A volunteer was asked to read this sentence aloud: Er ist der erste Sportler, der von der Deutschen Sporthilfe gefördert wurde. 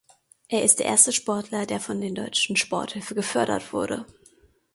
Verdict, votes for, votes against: rejected, 0, 2